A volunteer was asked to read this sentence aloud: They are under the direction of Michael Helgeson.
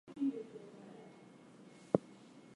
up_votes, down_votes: 2, 4